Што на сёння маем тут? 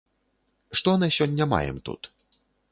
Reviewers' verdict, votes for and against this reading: accepted, 2, 0